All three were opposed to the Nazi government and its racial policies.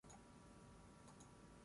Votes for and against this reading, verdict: 0, 6, rejected